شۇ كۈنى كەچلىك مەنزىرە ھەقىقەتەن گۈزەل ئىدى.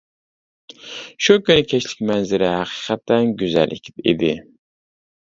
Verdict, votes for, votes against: rejected, 0, 2